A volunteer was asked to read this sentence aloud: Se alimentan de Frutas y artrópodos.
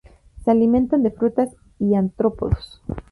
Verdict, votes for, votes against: rejected, 0, 2